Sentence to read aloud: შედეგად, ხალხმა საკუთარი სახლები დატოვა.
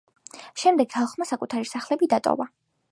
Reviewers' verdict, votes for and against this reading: rejected, 0, 2